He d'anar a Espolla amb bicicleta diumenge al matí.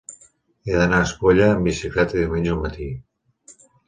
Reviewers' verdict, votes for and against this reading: accepted, 2, 0